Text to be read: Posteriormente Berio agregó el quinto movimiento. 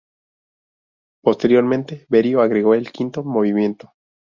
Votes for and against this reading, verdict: 0, 2, rejected